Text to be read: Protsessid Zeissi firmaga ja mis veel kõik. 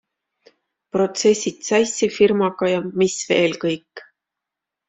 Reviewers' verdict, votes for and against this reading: accepted, 2, 0